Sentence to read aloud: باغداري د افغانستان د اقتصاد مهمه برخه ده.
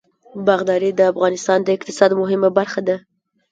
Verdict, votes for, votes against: accepted, 2, 0